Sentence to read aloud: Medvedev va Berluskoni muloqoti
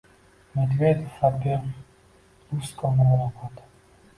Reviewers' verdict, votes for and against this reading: rejected, 1, 2